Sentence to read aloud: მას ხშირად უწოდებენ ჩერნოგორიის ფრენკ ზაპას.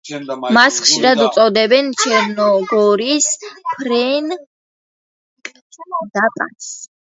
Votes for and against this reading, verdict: 0, 2, rejected